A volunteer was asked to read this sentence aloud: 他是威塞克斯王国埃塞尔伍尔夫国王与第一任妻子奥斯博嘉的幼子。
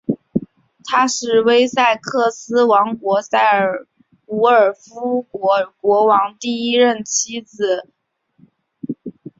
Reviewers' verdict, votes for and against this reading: rejected, 1, 2